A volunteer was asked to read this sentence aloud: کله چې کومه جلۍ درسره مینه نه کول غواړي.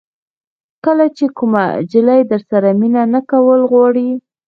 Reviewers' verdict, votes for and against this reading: rejected, 1, 2